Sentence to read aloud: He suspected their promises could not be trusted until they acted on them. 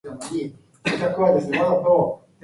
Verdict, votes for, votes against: rejected, 0, 2